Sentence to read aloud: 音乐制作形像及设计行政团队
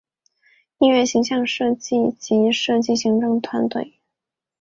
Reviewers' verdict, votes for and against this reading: rejected, 2, 2